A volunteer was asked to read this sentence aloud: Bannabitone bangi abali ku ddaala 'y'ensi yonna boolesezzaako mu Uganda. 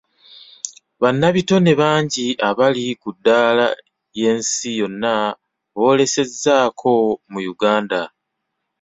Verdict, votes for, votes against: rejected, 1, 2